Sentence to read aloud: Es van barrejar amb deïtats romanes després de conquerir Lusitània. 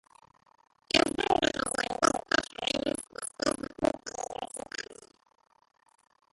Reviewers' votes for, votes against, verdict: 0, 2, rejected